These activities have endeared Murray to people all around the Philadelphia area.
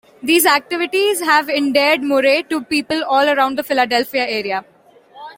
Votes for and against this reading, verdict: 1, 2, rejected